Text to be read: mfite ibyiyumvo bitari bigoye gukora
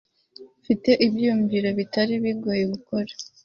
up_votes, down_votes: 1, 2